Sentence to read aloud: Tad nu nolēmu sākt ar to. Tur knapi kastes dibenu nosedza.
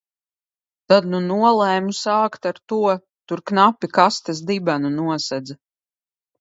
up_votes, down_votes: 2, 0